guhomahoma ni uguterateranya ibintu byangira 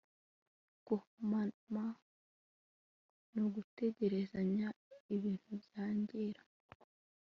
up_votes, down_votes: 2, 0